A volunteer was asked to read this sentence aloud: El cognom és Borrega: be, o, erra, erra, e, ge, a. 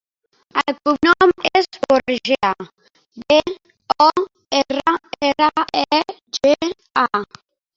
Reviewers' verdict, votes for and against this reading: rejected, 0, 2